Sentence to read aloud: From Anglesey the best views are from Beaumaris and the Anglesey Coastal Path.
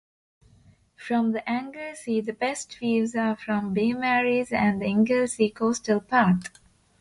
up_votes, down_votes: 0, 2